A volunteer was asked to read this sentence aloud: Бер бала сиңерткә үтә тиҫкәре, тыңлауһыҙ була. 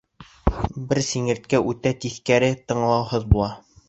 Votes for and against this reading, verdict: 1, 2, rejected